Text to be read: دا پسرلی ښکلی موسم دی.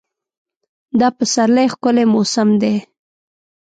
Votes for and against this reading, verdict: 2, 0, accepted